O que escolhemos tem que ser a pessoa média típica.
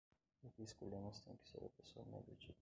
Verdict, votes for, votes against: rejected, 0, 2